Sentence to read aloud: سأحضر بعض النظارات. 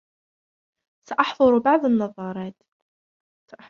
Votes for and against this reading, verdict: 1, 2, rejected